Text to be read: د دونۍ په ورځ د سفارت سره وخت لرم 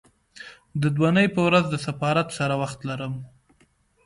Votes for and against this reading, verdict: 2, 0, accepted